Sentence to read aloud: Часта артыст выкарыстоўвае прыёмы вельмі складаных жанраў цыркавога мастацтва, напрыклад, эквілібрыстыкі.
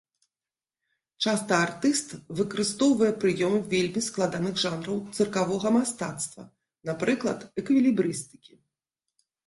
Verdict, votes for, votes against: accepted, 2, 0